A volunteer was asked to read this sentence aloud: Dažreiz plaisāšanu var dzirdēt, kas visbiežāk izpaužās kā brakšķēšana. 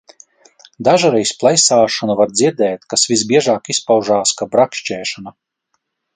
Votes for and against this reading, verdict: 2, 0, accepted